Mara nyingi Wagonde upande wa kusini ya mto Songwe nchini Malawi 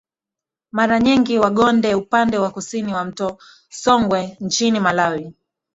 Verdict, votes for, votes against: accepted, 2, 1